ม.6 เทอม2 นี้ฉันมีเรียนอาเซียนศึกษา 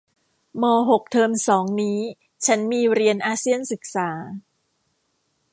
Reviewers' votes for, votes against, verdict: 0, 2, rejected